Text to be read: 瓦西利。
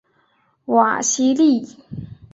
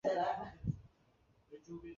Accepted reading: first